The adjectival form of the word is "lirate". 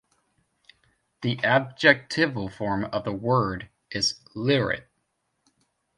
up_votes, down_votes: 1, 2